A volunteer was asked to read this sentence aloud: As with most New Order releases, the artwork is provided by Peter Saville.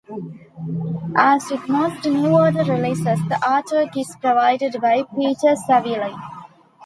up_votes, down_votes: 2, 0